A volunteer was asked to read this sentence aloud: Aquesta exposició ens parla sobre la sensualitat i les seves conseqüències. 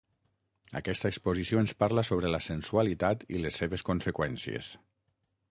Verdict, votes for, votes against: accepted, 6, 0